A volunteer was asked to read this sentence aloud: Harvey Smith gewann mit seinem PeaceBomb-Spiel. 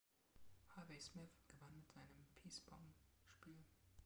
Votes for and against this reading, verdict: 1, 3, rejected